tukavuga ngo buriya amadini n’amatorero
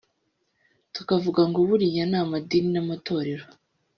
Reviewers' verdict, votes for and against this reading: accepted, 5, 0